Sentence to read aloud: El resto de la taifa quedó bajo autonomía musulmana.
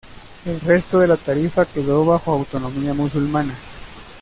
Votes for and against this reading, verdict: 1, 2, rejected